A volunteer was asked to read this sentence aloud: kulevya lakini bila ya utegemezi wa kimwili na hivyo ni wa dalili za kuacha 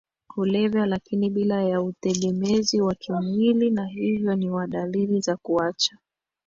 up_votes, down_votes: 2, 1